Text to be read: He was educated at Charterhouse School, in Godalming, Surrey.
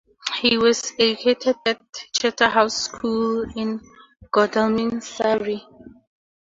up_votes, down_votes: 4, 2